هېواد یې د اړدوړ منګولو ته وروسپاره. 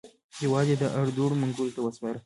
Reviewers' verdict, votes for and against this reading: accepted, 2, 0